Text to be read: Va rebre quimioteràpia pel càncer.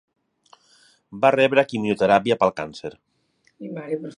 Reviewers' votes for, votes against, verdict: 1, 2, rejected